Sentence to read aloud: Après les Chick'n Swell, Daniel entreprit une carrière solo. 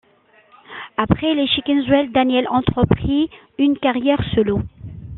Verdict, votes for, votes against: accepted, 2, 0